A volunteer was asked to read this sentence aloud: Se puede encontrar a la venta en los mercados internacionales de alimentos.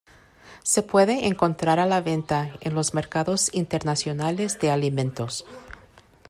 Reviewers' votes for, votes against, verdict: 2, 0, accepted